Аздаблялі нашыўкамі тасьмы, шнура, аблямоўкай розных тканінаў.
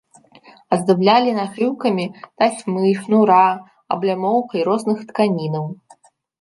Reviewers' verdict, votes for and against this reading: accepted, 2, 1